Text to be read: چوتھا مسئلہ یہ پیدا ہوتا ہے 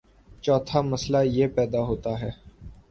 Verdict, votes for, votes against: accepted, 2, 0